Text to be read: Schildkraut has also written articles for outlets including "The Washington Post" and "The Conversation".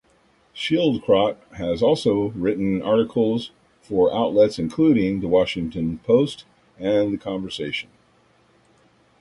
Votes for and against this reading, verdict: 2, 0, accepted